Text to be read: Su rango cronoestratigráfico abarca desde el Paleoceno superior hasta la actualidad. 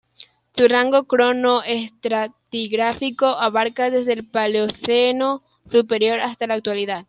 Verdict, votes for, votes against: accepted, 2, 1